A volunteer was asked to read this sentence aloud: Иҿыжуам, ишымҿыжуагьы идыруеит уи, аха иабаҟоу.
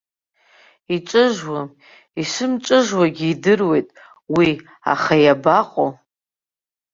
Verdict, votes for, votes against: accepted, 2, 0